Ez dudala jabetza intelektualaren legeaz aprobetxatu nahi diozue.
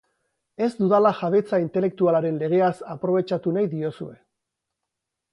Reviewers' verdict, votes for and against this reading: accepted, 4, 0